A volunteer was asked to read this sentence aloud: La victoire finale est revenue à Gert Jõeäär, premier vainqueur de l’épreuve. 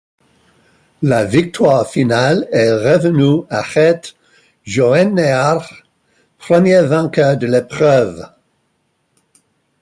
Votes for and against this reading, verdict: 2, 0, accepted